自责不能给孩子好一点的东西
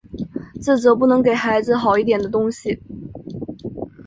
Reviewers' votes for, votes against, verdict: 4, 0, accepted